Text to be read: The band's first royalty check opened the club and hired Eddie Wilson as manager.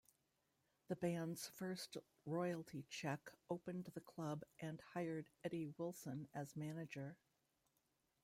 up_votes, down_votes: 1, 2